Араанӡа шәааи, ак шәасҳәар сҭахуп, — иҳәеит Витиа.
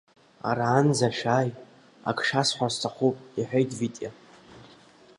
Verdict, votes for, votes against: accepted, 3, 0